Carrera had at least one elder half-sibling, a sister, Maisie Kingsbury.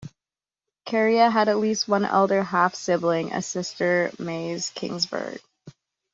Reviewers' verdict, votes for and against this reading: rejected, 1, 2